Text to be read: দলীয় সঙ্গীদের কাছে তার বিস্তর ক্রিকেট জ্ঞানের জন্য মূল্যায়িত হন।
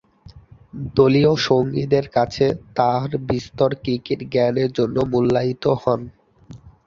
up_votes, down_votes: 2, 2